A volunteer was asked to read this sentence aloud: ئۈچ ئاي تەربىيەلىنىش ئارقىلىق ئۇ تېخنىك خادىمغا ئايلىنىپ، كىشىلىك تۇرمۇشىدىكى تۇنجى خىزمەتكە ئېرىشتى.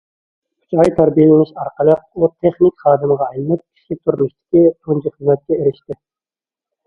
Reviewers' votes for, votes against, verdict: 1, 2, rejected